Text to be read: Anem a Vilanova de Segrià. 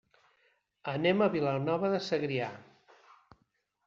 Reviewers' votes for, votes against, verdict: 5, 0, accepted